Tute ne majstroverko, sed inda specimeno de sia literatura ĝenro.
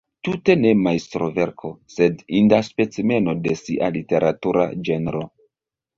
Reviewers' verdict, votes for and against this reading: accepted, 2, 0